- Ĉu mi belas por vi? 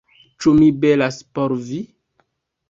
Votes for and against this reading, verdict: 2, 0, accepted